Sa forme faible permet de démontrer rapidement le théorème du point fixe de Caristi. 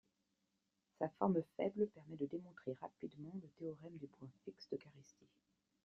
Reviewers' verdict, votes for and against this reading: accepted, 2, 0